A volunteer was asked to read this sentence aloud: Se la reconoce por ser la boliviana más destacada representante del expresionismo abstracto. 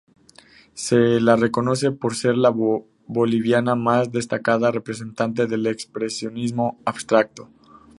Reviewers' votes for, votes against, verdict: 2, 0, accepted